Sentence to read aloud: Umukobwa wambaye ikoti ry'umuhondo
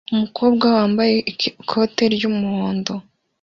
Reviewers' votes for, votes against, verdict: 0, 2, rejected